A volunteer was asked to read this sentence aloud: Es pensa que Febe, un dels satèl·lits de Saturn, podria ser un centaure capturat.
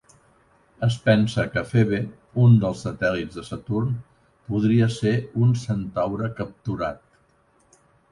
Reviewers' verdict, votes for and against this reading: accepted, 3, 0